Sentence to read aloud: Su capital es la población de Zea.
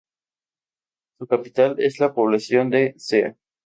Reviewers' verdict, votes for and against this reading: accepted, 2, 0